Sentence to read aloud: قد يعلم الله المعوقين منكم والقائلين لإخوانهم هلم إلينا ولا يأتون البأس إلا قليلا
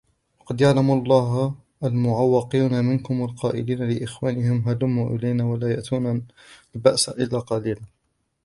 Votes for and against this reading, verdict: 1, 2, rejected